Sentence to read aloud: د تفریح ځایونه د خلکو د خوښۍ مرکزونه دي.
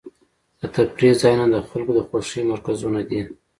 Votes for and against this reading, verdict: 2, 0, accepted